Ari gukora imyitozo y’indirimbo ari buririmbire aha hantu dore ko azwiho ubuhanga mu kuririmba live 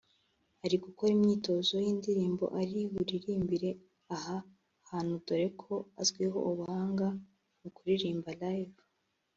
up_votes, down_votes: 2, 0